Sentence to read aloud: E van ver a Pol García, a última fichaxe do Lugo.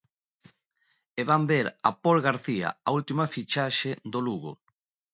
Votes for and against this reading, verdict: 2, 0, accepted